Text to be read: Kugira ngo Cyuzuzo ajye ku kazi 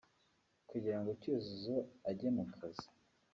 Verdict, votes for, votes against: accepted, 2, 1